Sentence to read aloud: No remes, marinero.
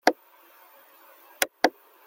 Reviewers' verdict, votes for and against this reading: rejected, 0, 2